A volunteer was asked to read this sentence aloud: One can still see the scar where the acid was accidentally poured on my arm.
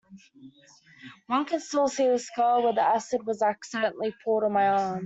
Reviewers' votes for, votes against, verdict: 1, 2, rejected